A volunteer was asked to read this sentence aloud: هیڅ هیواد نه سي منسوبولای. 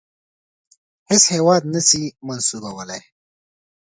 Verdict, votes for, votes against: accepted, 2, 0